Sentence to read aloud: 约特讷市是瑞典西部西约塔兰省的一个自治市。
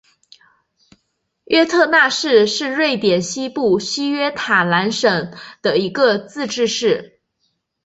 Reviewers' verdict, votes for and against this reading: accepted, 2, 0